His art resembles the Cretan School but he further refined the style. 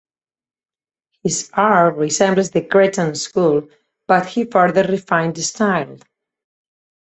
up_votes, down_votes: 4, 0